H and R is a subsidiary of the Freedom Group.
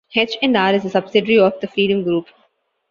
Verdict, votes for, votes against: accepted, 2, 0